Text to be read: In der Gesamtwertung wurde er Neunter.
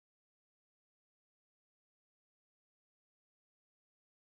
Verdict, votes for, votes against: rejected, 0, 2